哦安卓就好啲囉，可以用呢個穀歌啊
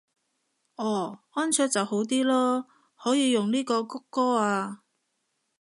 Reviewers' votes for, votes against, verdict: 2, 0, accepted